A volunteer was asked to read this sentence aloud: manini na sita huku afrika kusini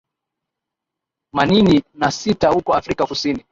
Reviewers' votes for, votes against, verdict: 5, 6, rejected